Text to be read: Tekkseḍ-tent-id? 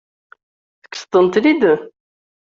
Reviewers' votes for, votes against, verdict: 0, 2, rejected